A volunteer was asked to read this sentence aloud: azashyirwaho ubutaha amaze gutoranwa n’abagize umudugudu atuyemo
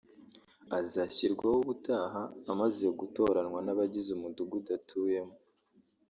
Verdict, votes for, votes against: accepted, 2, 0